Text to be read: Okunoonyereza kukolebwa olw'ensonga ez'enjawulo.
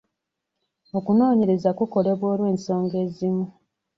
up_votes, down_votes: 1, 2